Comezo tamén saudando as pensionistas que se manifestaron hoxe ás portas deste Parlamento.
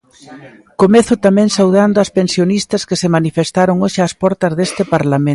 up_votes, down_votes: 1, 2